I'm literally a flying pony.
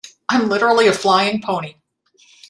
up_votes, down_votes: 2, 0